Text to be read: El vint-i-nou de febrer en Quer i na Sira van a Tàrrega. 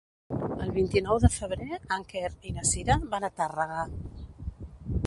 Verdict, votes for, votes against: rejected, 1, 2